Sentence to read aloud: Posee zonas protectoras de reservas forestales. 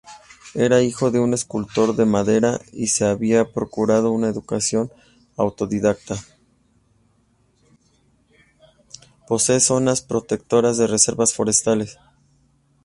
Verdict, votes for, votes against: rejected, 1, 2